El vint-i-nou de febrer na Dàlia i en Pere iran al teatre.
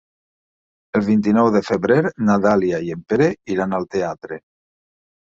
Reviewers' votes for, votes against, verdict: 3, 1, accepted